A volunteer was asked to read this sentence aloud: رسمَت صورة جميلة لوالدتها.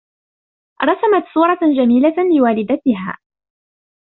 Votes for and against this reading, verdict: 2, 1, accepted